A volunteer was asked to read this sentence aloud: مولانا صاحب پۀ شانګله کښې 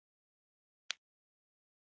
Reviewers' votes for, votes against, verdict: 0, 2, rejected